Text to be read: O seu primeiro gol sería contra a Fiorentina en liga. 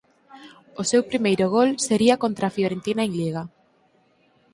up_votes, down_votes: 4, 0